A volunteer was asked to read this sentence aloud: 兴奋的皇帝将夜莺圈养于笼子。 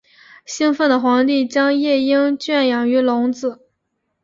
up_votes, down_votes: 3, 0